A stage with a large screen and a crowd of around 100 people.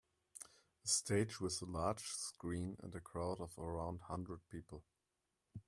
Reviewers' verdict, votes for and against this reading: rejected, 0, 2